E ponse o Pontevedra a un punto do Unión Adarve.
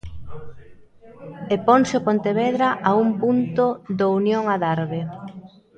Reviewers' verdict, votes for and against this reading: rejected, 0, 2